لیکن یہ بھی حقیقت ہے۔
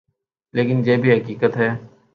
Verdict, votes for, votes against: accepted, 3, 0